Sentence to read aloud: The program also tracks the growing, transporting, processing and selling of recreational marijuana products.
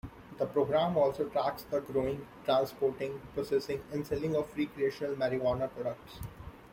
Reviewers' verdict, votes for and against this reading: accepted, 2, 0